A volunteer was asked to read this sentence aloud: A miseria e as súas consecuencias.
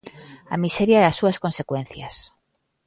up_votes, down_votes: 2, 0